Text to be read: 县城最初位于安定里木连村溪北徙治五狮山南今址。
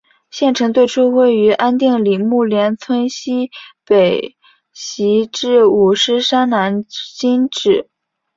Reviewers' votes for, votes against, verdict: 5, 0, accepted